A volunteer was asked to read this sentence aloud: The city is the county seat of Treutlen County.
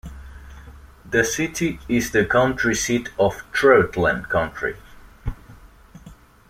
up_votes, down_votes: 0, 2